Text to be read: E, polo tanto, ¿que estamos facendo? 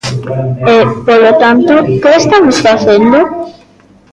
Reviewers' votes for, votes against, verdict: 1, 2, rejected